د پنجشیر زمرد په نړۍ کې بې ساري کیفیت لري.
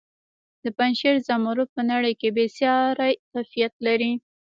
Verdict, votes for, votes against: accepted, 2, 0